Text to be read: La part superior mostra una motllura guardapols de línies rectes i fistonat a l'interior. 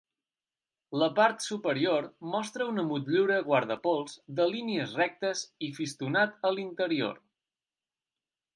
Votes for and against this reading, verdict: 2, 0, accepted